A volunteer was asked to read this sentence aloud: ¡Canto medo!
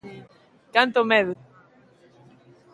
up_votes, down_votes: 2, 0